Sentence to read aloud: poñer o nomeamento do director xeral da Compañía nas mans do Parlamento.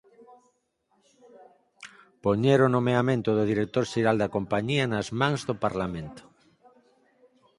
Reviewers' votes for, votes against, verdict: 4, 0, accepted